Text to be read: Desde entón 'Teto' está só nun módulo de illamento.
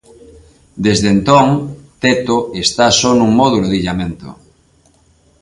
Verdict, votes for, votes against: accepted, 2, 0